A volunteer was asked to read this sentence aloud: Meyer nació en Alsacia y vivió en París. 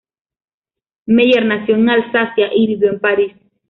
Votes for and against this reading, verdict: 2, 1, accepted